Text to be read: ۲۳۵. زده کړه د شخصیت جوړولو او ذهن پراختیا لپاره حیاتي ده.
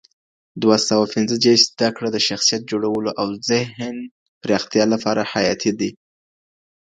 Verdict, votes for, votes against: rejected, 0, 2